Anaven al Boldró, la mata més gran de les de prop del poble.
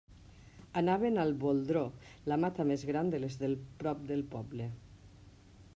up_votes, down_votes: 0, 2